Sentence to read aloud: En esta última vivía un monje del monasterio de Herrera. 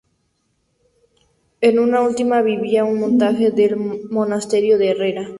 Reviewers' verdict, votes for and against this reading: rejected, 0, 2